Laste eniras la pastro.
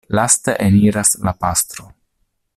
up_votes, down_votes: 2, 0